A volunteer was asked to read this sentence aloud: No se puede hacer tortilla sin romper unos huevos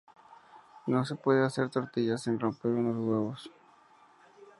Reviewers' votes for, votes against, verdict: 2, 0, accepted